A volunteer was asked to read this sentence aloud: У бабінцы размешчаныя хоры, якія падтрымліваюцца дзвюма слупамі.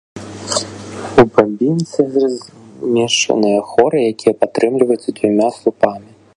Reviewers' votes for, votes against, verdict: 1, 2, rejected